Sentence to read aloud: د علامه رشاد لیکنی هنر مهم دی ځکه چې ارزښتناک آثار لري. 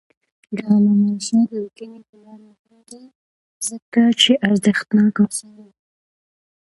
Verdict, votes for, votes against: accepted, 2, 0